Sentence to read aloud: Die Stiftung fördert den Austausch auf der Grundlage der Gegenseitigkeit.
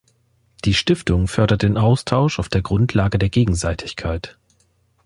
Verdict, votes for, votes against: accepted, 2, 0